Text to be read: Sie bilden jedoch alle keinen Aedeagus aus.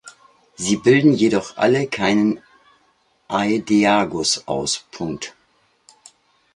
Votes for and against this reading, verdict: 0, 2, rejected